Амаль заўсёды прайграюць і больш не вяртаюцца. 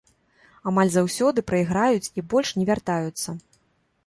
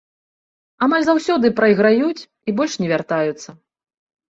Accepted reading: second